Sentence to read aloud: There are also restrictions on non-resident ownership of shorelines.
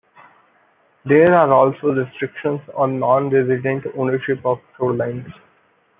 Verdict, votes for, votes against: rejected, 0, 2